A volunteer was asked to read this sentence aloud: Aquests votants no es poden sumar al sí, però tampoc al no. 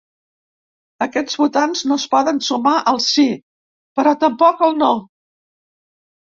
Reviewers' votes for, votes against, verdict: 2, 0, accepted